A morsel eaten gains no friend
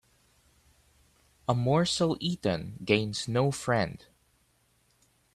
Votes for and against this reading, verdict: 2, 1, accepted